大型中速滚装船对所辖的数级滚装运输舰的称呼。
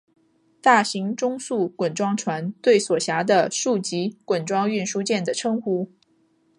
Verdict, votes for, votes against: accepted, 2, 0